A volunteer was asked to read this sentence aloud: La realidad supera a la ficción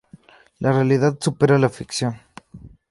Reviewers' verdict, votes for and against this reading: rejected, 0, 2